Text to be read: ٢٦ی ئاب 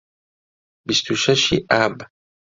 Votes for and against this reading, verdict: 0, 2, rejected